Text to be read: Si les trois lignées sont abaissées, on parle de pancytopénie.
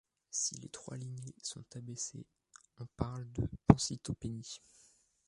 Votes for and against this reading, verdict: 2, 0, accepted